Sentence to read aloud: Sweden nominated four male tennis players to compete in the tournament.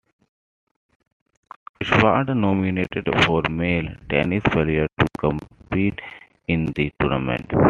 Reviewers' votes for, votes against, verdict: 1, 2, rejected